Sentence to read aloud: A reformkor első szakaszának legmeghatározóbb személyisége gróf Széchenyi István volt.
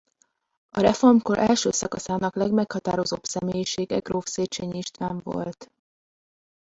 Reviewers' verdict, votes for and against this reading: rejected, 0, 2